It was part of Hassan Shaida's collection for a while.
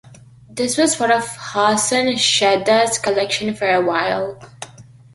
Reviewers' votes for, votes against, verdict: 2, 1, accepted